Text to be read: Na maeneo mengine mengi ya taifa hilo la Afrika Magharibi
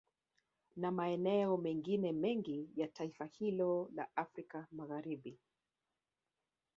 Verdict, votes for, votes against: rejected, 1, 2